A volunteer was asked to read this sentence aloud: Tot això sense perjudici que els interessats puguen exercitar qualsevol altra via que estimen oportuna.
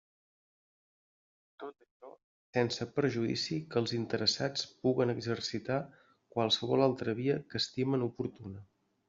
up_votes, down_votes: 1, 2